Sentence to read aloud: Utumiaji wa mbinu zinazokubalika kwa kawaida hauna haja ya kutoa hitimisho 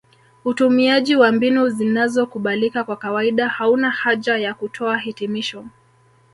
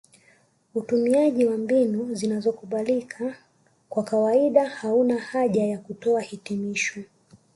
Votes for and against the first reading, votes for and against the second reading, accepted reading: 1, 2, 2, 1, second